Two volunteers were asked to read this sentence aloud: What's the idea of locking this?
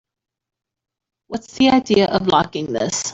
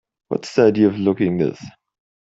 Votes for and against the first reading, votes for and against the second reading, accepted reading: 2, 0, 2, 4, first